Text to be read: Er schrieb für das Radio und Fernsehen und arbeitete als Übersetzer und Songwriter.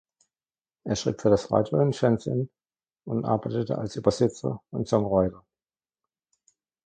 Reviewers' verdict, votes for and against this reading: rejected, 0, 2